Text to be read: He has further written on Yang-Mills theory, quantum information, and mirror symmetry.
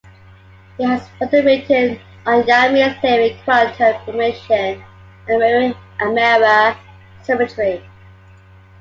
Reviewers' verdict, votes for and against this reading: accepted, 2, 0